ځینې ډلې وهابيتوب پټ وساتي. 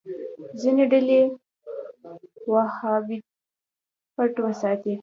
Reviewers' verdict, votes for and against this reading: rejected, 0, 2